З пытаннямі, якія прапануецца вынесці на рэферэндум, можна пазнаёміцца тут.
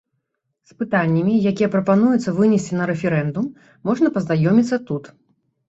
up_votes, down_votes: 2, 0